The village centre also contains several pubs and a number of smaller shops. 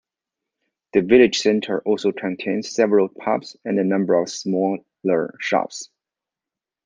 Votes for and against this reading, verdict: 2, 1, accepted